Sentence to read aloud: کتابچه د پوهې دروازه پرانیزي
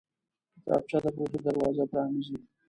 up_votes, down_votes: 2, 0